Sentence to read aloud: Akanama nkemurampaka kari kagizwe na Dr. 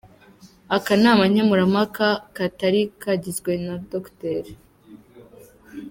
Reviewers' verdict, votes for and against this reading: rejected, 0, 2